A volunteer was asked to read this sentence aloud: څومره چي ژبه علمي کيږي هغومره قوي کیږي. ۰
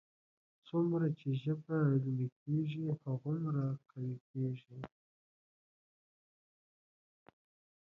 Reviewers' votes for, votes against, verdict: 0, 2, rejected